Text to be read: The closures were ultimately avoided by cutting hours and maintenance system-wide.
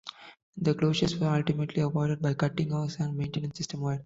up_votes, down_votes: 2, 0